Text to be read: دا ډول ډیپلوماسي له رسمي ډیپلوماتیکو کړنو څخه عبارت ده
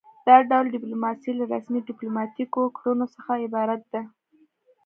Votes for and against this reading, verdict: 2, 0, accepted